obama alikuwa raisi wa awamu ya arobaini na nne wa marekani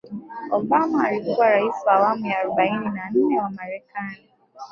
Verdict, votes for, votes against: rejected, 0, 2